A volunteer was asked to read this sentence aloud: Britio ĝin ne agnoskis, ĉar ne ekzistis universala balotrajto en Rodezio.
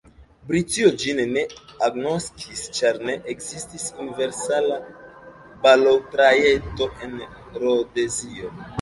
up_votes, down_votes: 1, 2